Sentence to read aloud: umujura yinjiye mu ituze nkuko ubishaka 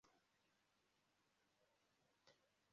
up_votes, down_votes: 0, 2